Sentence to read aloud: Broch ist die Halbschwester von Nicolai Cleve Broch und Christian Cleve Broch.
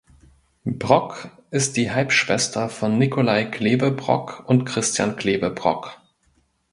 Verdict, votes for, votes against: rejected, 1, 2